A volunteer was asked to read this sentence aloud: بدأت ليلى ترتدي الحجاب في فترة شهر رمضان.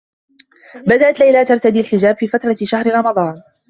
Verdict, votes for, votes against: accepted, 3, 0